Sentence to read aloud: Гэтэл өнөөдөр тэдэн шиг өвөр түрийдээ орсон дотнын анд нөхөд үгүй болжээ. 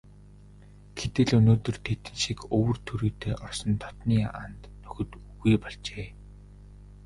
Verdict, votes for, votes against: rejected, 2, 2